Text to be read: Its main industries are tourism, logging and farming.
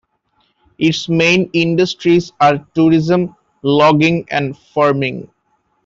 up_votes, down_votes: 2, 0